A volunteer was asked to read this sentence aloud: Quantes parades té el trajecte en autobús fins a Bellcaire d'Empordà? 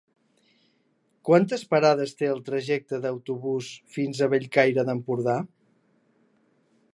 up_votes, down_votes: 1, 2